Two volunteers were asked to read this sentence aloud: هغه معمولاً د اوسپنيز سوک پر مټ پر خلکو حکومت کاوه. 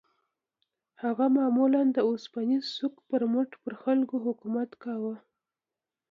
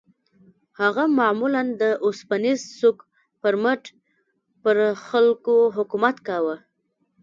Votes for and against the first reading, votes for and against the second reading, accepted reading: 2, 0, 1, 2, first